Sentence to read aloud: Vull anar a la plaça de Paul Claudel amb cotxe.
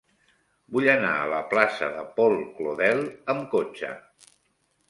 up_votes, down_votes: 2, 0